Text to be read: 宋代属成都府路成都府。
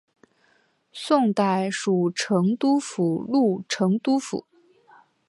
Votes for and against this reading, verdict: 7, 0, accepted